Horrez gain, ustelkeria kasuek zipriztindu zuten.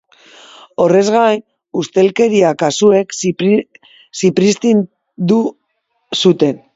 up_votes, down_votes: 0, 3